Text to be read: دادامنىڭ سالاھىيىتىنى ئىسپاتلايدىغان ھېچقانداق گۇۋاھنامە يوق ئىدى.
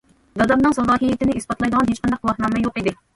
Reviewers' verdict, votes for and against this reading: rejected, 1, 2